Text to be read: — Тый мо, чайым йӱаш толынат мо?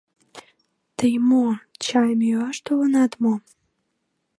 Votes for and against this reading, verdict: 3, 0, accepted